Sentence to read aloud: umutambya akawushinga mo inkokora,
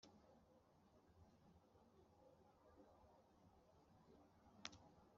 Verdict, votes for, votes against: accepted, 2, 0